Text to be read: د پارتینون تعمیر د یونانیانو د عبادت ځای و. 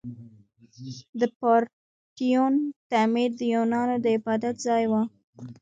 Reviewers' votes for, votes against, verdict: 1, 2, rejected